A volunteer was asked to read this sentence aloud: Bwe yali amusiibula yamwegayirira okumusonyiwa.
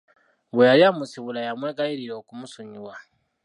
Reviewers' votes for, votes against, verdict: 3, 0, accepted